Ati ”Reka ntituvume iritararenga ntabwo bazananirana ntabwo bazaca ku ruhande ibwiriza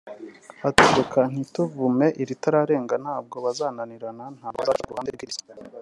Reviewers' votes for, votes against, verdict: 1, 2, rejected